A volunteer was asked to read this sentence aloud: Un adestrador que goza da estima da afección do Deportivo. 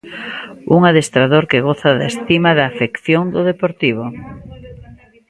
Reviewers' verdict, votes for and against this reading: accepted, 2, 0